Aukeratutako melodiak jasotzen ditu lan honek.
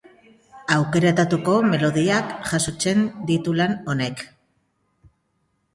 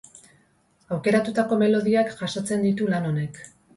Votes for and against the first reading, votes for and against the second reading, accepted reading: 0, 2, 2, 0, second